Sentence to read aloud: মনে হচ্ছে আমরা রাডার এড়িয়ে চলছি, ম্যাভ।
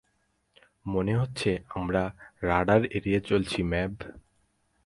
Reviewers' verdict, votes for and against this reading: accepted, 4, 0